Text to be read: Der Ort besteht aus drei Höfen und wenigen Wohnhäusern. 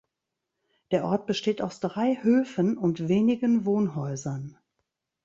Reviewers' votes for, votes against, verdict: 2, 0, accepted